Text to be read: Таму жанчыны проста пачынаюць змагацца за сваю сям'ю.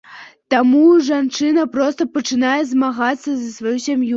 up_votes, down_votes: 1, 2